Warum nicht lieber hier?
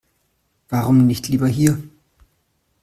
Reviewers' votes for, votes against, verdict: 2, 0, accepted